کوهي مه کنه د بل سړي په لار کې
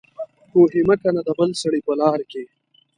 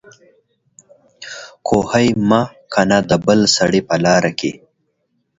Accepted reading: second